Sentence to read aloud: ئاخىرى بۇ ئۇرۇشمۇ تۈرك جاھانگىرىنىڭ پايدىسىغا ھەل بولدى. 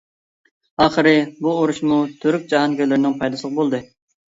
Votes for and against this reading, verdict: 1, 2, rejected